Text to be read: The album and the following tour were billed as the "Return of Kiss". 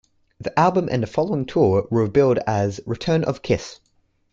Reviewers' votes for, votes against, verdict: 1, 2, rejected